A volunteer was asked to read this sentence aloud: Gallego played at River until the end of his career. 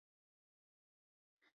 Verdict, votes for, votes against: rejected, 0, 2